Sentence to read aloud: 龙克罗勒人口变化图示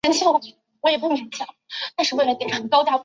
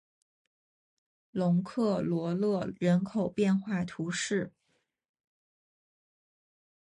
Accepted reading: second